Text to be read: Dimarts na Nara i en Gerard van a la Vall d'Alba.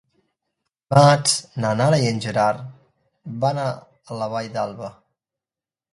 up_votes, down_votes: 1, 2